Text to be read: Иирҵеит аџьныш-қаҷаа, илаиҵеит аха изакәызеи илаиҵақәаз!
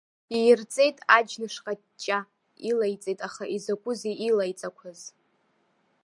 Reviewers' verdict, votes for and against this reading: rejected, 0, 2